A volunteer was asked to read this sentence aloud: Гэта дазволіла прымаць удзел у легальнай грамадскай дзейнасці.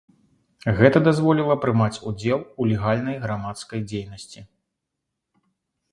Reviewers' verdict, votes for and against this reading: accepted, 2, 0